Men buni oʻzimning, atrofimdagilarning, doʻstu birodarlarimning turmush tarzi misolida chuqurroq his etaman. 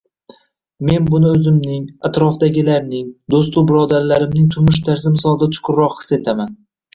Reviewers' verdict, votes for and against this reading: rejected, 1, 2